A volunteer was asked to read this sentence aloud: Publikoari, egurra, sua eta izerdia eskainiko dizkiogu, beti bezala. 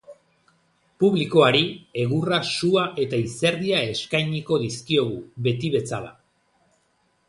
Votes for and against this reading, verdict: 2, 0, accepted